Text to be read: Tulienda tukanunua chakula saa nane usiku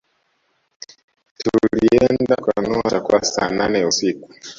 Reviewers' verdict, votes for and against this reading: rejected, 1, 2